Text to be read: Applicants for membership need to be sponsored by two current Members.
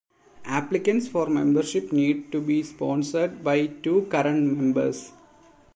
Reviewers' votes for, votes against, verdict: 2, 0, accepted